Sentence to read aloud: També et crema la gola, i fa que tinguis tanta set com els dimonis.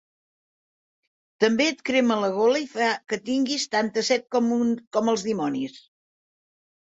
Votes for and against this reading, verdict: 0, 2, rejected